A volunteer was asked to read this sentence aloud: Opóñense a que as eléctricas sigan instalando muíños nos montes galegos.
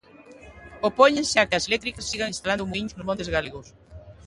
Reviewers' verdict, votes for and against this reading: rejected, 0, 2